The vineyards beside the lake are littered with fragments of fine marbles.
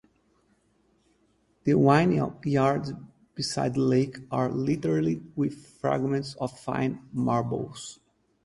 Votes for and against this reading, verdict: 0, 2, rejected